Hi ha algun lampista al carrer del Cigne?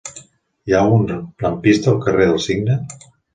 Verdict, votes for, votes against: rejected, 0, 2